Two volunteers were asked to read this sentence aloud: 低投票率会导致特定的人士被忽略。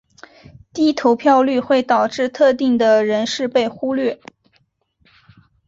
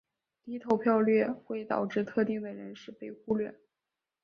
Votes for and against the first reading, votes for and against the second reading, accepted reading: 5, 1, 1, 2, first